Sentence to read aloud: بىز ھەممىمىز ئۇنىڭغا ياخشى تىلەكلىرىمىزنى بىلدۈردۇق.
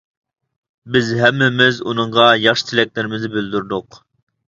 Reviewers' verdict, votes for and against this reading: accepted, 2, 0